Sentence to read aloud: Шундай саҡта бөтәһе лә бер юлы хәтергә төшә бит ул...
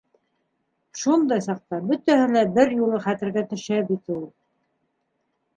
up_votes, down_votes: 2, 0